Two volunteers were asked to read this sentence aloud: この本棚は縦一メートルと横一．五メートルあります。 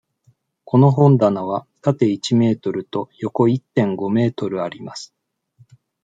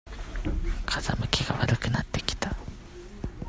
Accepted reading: first